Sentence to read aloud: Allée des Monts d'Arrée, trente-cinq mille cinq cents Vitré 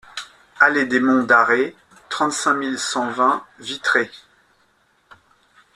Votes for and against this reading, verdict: 2, 1, accepted